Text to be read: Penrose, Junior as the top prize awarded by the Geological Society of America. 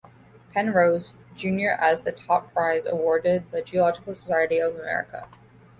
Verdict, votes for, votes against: rejected, 0, 2